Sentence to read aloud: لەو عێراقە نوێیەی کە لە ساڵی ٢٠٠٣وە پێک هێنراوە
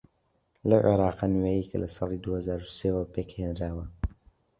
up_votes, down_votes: 0, 2